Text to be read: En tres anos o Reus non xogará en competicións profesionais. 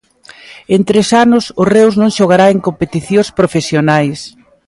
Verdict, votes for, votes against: accepted, 2, 0